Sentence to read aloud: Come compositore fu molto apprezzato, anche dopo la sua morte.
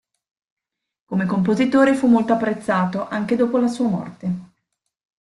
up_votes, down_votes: 2, 1